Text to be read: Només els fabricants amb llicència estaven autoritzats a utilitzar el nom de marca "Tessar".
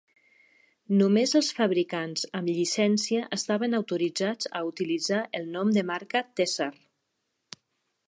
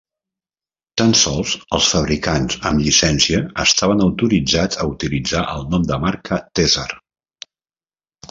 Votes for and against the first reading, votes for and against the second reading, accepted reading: 2, 0, 0, 2, first